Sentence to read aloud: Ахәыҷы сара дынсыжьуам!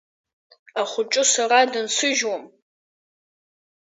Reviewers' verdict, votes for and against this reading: rejected, 0, 2